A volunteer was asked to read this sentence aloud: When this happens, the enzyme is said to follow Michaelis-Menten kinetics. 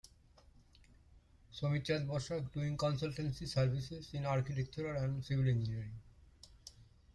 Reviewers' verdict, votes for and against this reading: rejected, 0, 2